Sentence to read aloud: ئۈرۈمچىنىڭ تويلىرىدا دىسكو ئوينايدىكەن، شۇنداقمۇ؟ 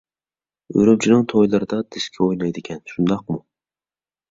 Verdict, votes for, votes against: accepted, 2, 0